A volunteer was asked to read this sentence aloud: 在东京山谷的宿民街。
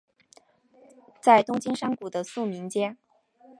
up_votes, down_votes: 2, 0